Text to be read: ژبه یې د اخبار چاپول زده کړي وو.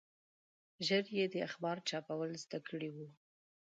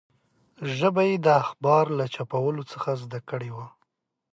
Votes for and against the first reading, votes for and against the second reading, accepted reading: 0, 2, 2, 1, second